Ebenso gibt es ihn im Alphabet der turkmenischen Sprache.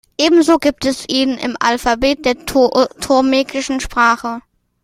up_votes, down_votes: 1, 2